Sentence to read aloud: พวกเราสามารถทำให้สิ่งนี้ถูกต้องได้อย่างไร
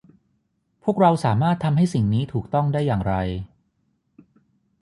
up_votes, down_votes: 9, 0